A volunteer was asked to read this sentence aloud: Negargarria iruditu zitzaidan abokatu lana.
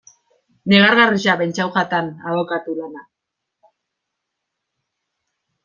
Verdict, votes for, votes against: rejected, 0, 2